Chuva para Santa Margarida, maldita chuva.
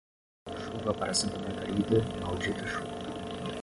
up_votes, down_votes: 5, 5